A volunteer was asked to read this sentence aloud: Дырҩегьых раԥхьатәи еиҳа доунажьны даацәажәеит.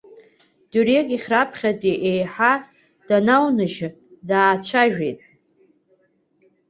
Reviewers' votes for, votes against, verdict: 2, 1, accepted